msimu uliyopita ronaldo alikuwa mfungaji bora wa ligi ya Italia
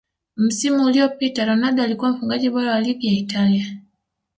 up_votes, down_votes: 3, 0